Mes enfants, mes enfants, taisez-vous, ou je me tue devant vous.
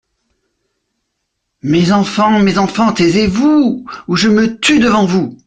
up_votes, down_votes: 2, 0